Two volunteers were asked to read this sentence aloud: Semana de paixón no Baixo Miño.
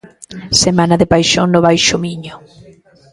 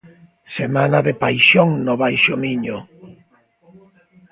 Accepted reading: second